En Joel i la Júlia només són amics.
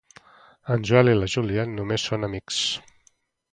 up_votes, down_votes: 4, 0